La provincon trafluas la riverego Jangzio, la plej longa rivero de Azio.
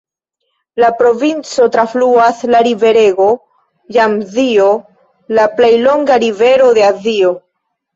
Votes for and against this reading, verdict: 1, 2, rejected